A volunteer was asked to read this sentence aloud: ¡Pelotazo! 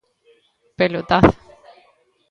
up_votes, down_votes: 2, 0